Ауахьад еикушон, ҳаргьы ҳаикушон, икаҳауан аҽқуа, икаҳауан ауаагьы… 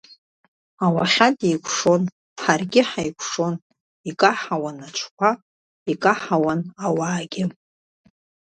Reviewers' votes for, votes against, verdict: 2, 0, accepted